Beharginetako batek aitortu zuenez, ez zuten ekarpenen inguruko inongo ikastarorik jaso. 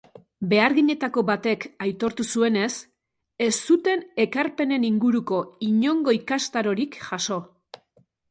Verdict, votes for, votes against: accepted, 2, 0